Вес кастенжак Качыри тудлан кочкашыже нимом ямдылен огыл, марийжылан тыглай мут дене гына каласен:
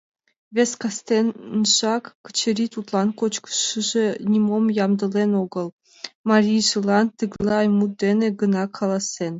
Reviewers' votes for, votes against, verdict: 1, 2, rejected